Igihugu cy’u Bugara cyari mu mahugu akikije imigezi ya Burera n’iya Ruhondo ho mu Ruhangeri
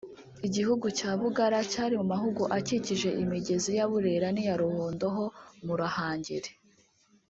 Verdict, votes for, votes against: accepted, 2, 1